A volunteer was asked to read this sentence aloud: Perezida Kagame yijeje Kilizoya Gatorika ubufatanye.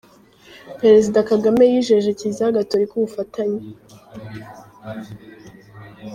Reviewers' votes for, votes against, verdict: 0, 2, rejected